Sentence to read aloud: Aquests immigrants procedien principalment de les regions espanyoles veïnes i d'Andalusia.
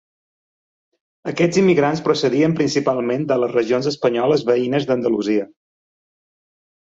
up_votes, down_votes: 1, 3